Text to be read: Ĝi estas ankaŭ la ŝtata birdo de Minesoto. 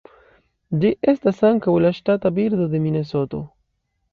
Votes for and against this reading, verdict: 2, 0, accepted